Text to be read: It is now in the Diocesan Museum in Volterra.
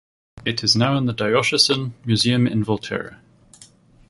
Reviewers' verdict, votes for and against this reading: rejected, 0, 2